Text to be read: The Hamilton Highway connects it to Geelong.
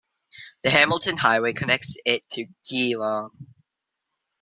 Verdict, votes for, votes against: rejected, 0, 2